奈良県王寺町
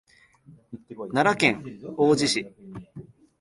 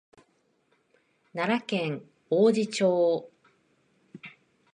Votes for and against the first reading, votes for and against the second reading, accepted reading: 4, 5, 2, 0, second